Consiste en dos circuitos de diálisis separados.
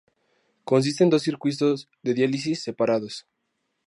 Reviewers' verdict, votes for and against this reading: rejected, 0, 2